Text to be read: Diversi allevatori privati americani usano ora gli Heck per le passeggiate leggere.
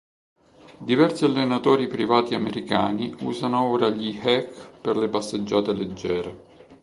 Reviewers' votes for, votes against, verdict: 1, 2, rejected